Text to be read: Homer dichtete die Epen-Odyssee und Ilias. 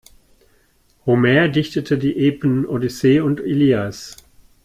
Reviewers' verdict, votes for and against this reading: accepted, 2, 0